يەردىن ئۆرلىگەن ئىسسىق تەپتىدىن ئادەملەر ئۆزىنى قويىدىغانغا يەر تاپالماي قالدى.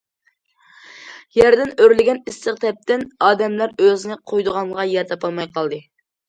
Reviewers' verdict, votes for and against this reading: rejected, 1, 2